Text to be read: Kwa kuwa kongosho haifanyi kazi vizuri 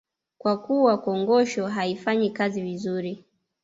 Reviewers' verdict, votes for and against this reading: accepted, 2, 1